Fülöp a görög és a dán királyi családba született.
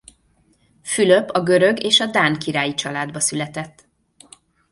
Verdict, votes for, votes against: accepted, 2, 0